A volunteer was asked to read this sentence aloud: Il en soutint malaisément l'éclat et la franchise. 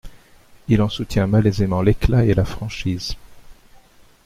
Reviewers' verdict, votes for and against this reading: rejected, 1, 2